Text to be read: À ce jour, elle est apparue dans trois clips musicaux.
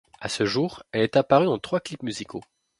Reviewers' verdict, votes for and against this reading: rejected, 1, 2